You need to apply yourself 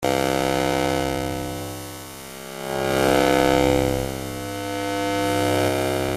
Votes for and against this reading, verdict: 0, 2, rejected